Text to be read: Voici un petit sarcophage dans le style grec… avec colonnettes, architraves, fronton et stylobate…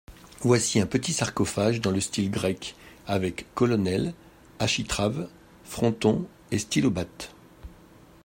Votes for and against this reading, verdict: 0, 2, rejected